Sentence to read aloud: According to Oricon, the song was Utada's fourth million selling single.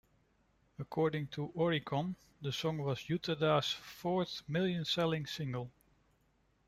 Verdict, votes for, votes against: rejected, 0, 2